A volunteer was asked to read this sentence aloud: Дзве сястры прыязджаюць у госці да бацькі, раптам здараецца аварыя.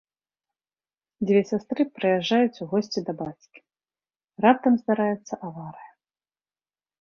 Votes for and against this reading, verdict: 2, 0, accepted